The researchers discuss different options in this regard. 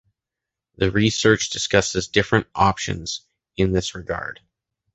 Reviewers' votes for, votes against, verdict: 1, 2, rejected